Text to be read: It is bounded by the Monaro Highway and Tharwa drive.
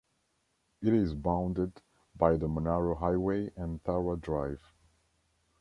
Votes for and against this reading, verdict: 2, 0, accepted